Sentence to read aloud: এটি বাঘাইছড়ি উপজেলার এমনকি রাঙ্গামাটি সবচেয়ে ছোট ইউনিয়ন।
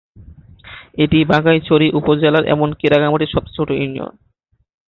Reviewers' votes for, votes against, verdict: 2, 0, accepted